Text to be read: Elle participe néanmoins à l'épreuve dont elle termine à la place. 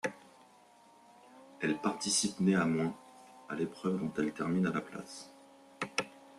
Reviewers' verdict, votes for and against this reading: rejected, 1, 2